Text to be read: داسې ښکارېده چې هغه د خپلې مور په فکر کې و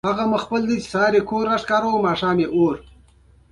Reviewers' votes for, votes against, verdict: 2, 0, accepted